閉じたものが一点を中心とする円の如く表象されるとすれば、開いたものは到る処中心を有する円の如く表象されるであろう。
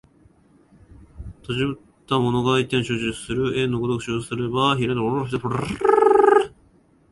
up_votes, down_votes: 1, 2